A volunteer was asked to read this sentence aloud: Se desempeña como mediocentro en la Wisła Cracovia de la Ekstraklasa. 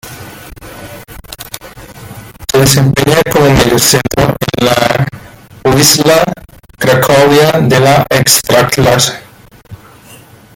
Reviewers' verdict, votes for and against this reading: rejected, 1, 2